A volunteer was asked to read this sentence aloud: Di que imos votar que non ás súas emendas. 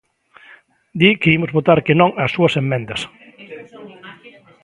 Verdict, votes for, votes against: accepted, 2, 1